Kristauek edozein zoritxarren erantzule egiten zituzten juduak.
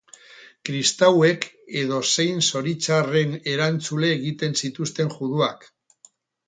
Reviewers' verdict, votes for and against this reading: rejected, 2, 2